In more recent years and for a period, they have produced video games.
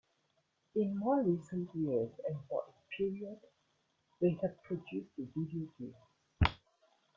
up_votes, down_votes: 0, 2